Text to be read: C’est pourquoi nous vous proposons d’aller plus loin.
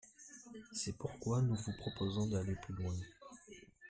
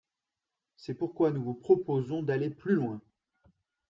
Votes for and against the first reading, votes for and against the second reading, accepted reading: 0, 2, 2, 0, second